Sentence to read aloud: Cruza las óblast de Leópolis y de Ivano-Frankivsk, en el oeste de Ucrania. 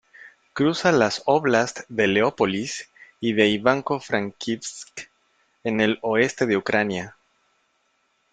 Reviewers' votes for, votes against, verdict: 1, 2, rejected